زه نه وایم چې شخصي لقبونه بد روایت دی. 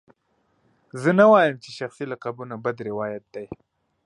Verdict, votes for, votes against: accepted, 2, 0